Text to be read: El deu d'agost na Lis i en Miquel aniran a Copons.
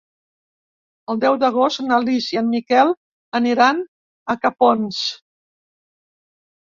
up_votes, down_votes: 0, 2